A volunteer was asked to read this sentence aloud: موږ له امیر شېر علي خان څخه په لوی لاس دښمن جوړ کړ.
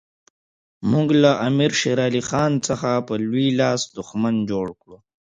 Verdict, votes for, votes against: accepted, 3, 0